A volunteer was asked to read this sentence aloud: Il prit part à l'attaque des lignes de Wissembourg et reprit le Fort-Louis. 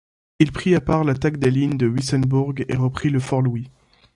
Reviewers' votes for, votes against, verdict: 2, 1, accepted